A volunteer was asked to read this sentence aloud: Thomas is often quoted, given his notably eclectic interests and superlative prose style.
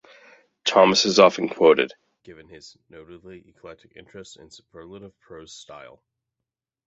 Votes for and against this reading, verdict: 0, 2, rejected